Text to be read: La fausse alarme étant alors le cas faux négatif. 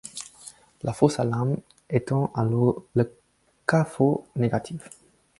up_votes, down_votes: 0, 4